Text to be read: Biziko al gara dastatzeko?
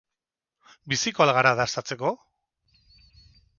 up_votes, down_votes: 2, 2